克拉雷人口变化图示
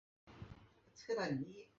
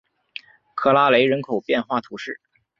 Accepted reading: second